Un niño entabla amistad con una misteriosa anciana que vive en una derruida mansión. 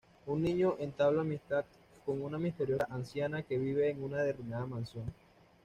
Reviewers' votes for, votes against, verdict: 2, 0, accepted